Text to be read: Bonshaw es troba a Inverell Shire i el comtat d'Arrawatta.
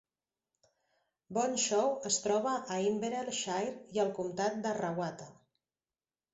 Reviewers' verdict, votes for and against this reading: accepted, 2, 0